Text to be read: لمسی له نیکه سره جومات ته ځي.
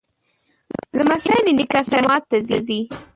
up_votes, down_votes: 1, 2